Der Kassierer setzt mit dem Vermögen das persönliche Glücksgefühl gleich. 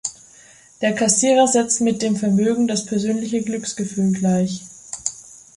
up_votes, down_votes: 2, 0